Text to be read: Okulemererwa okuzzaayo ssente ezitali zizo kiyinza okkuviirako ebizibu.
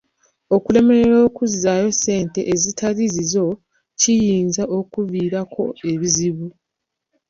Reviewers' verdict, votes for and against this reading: accepted, 2, 0